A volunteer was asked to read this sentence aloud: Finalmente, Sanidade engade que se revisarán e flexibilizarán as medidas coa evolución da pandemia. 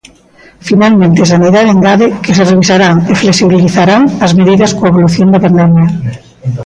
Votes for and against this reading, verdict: 1, 2, rejected